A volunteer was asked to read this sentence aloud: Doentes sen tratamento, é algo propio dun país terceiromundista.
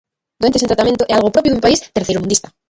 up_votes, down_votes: 0, 3